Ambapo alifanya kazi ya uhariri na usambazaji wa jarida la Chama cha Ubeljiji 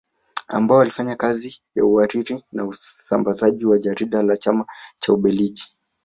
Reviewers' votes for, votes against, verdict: 1, 2, rejected